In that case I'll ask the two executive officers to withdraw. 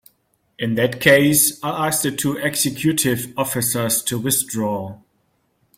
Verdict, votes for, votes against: accepted, 2, 1